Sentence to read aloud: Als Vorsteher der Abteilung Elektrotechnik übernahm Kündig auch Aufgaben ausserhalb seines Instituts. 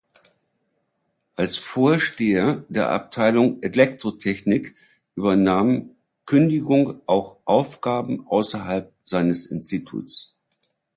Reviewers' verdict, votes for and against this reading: rejected, 0, 2